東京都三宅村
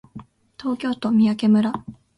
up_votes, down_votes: 2, 0